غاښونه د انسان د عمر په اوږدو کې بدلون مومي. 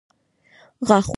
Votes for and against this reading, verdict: 1, 2, rejected